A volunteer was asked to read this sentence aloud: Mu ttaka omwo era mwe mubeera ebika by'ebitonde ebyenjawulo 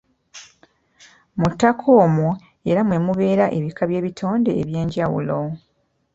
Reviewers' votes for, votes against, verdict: 2, 0, accepted